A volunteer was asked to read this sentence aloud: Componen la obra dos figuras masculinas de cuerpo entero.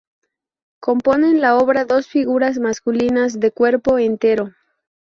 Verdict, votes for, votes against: accepted, 4, 0